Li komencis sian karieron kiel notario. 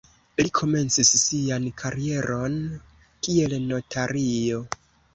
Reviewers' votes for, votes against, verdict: 0, 2, rejected